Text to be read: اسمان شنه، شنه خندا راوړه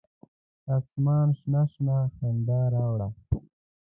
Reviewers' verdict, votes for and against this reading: accepted, 2, 0